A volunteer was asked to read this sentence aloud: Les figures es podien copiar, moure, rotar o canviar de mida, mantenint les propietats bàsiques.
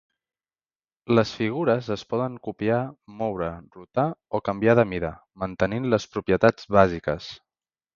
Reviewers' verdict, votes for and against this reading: rejected, 0, 2